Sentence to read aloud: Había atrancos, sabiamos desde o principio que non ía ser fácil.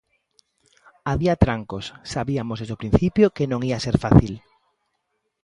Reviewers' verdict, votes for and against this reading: rejected, 0, 2